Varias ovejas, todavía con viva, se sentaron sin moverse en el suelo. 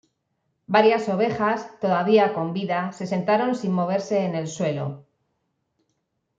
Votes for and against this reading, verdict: 1, 2, rejected